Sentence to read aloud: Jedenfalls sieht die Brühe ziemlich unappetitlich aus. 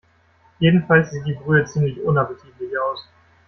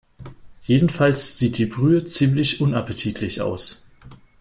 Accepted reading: second